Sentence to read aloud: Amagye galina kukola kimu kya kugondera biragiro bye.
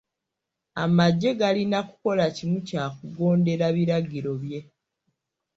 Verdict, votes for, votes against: accepted, 2, 0